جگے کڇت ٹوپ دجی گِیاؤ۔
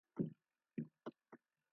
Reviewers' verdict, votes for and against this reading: rejected, 0, 2